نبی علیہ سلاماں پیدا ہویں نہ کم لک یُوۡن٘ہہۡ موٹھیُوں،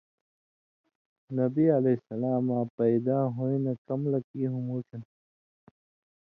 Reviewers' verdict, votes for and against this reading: accepted, 2, 0